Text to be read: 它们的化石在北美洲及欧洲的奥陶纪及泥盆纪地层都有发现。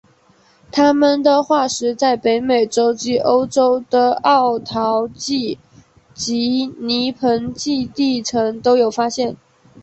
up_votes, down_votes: 2, 1